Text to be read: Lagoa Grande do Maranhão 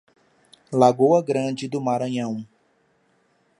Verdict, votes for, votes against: accepted, 2, 0